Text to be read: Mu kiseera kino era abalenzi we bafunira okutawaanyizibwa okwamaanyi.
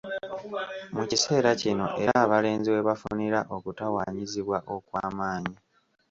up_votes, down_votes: 2, 0